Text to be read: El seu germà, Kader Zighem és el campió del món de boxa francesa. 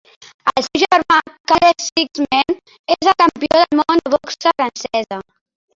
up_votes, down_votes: 1, 2